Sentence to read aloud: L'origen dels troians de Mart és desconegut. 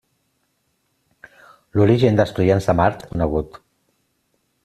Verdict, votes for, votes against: rejected, 1, 2